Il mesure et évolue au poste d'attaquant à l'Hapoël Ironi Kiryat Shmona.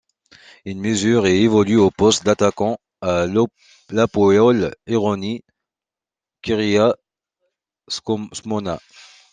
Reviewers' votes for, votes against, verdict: 0, 2, rejected